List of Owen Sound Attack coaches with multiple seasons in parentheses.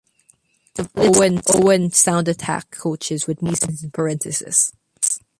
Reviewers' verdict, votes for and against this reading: rejected, 0, 2